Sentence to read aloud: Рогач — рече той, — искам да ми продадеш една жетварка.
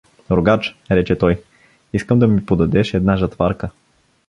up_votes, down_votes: 0, 2